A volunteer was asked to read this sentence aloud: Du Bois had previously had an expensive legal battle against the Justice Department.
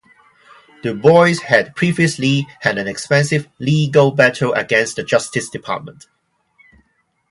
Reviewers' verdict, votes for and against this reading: accepted, 2, 0